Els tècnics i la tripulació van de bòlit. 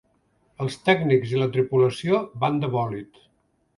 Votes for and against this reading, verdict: 2, 0, accepted